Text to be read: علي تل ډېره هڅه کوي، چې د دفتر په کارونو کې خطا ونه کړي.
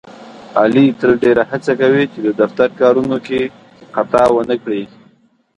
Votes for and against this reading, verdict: 0, 2, rejected